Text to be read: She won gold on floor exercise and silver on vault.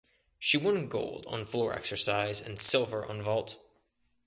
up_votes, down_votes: 2, 0